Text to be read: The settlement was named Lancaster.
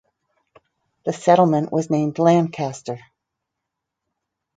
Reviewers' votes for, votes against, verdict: 4, 0, accepted